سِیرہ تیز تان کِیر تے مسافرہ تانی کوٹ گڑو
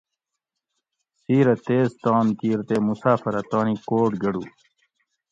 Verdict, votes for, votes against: accepted, 2, 0